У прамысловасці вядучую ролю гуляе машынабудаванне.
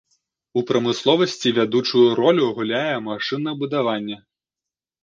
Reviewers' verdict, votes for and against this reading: accepted, 2, 0